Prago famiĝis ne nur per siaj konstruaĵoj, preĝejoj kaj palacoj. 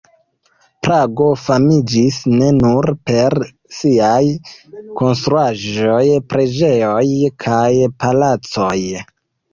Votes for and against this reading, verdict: 1, 2, rejected